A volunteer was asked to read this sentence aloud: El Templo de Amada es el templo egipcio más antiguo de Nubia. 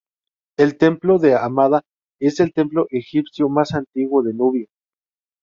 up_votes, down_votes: 2, 2